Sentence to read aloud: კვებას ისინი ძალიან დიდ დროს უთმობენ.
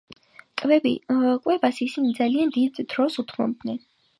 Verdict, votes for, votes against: rejected, 3, 5